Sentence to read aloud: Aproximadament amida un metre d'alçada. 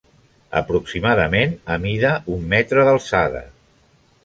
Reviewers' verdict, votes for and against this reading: accepted, 2, 0